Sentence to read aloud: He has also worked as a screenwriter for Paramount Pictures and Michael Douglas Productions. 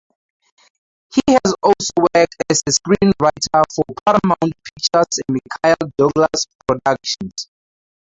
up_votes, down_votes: 0, 4